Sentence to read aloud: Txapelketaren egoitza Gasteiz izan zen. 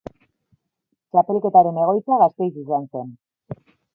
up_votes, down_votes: 3, 4